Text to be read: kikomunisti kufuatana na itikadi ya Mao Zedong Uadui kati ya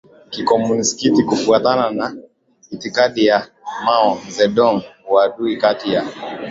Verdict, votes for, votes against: accepted, 2, 0